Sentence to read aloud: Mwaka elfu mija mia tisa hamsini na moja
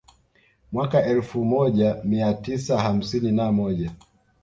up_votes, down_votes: 2, 0